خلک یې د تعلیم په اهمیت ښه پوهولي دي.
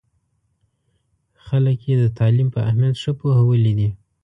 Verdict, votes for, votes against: accepted, 2, 0